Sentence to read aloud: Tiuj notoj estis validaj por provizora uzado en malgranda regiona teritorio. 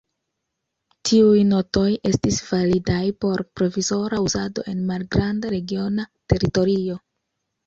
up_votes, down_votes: 2, 0